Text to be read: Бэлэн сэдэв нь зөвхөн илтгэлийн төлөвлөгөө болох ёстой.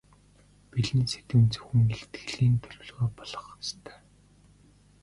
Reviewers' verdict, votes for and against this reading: rejected, 0, 2